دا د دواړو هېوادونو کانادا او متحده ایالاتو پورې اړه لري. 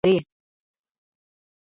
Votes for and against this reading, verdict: 0, 2, rejected